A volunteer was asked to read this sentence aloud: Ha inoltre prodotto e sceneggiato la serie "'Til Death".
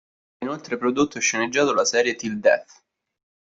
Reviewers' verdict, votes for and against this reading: rejected, 2, 3